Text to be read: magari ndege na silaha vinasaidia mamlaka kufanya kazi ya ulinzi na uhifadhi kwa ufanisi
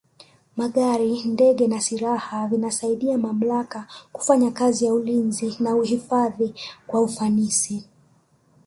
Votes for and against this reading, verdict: 1, 2, rejected